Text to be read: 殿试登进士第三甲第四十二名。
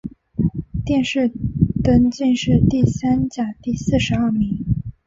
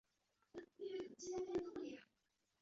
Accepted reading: first